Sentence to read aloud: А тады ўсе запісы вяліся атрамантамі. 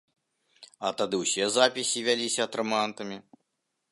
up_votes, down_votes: 1, 2